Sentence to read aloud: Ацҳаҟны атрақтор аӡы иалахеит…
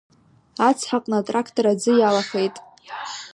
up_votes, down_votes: 2, 1